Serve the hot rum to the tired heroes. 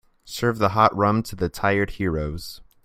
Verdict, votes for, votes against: accepted, 2, 0